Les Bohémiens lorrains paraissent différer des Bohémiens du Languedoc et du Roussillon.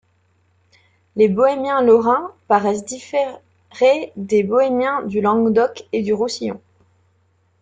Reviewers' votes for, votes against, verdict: 1, 2, rejected